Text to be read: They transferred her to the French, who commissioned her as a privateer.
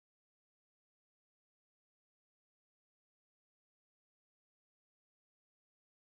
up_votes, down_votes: 0, 2